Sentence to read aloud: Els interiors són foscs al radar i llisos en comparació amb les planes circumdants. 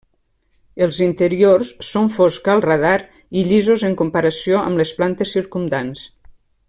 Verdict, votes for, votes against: rejected, 1, 3